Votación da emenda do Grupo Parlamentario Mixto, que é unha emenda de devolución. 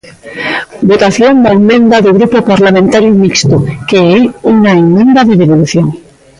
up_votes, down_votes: 2, 1